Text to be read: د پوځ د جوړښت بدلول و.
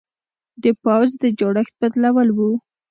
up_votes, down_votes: 2, 0